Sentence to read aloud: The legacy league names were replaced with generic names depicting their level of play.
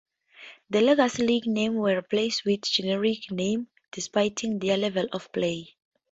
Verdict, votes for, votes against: rejected, 0, 2